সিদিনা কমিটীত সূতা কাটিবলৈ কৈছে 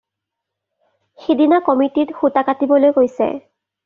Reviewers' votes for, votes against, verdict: 2, 0, accepted